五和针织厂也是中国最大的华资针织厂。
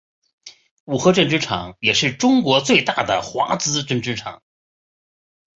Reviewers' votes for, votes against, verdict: 4, 1, accepted